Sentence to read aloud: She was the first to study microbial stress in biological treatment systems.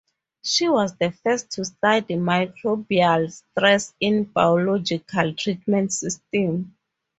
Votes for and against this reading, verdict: 0, 2, rejected